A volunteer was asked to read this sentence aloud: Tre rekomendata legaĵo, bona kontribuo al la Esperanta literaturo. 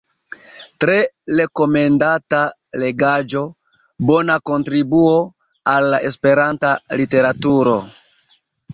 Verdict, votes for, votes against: accepted, 2, 0